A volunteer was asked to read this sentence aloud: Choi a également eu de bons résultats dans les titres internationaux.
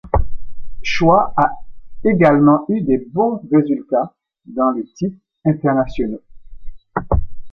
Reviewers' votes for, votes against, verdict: 1, 2, rejected